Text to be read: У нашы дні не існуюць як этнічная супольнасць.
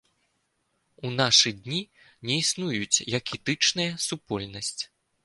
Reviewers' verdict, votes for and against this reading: rejected, 1, 2